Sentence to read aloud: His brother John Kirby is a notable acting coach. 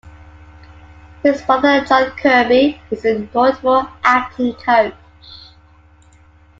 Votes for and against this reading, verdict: 2, 1, accepted